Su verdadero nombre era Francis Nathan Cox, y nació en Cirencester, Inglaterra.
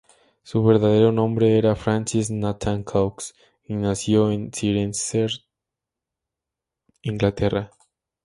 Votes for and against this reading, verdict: 2, 0, accepted